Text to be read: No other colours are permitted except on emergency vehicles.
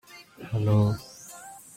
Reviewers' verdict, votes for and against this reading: rejected, 0, 2